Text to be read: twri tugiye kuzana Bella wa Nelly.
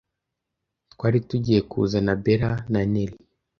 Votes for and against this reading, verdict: 1, 2, rejected